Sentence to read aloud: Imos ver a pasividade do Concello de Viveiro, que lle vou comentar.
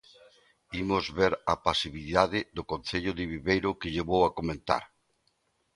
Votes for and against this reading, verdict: 2, 3, rejected